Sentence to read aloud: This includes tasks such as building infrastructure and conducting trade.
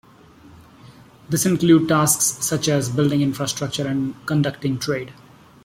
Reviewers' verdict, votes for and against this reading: accepted, 2, 0